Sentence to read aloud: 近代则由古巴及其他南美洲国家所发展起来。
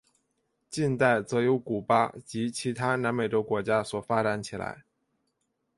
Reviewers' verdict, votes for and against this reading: accepted, 2, 0